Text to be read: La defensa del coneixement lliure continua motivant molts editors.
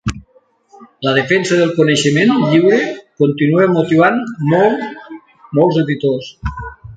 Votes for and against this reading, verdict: 2, 1, accepted